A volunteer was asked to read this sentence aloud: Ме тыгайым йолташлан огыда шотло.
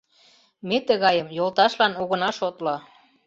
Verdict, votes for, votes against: rejected, 1, 2